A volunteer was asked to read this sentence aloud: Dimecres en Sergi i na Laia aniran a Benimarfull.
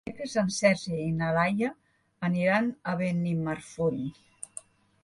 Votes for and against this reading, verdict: 1, 2, rejected